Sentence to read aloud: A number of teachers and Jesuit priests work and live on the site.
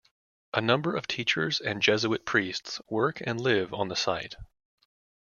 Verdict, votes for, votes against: accepted, 2, 0